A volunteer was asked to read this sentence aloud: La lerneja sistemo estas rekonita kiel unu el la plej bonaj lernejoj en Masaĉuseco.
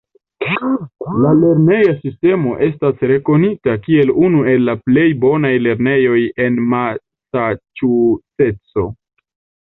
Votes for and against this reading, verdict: 0, 2, rejected